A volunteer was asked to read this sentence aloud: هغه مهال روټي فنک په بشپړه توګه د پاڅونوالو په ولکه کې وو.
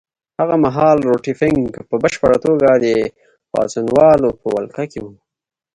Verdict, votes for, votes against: accepted, 2, 0